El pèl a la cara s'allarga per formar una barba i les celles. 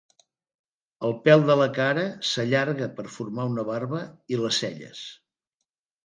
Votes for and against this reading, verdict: 1, 3, rejected